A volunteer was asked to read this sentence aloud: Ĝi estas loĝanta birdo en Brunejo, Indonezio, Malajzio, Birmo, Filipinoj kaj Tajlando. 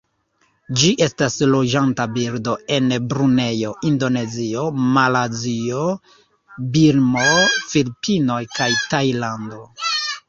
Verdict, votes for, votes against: rejected, 0, 2